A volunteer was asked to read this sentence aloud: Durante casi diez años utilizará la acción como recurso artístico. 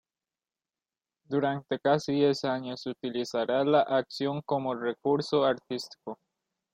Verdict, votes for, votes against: accepted, 2, 0